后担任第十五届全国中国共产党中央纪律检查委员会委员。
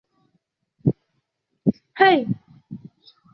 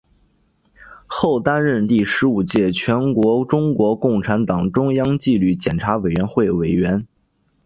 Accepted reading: second